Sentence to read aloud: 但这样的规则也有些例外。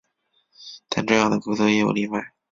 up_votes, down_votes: 1, 2